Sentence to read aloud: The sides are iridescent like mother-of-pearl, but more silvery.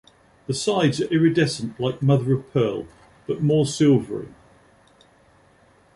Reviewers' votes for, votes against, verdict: 2, 0, accepted